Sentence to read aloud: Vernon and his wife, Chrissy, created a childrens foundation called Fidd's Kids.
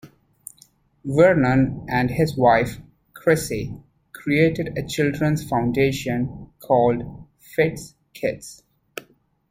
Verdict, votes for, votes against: accepted, 2, 0